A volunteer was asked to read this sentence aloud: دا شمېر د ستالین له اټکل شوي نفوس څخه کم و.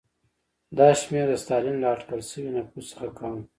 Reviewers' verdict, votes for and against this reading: accepted, 2, 0